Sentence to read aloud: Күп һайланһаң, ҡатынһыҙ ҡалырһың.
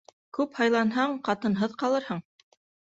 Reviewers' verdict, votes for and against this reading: accepted, 2, 0